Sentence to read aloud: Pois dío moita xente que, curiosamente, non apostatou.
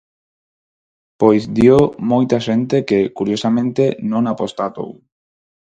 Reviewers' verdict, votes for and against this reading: rejected, 2, 2